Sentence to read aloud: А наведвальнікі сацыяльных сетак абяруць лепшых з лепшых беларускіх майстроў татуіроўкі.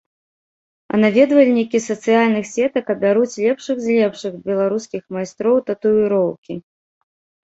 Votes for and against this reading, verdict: 0, 2, rejected